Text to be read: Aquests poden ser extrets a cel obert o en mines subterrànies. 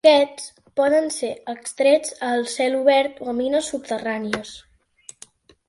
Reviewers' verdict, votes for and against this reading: rejected, 1, 2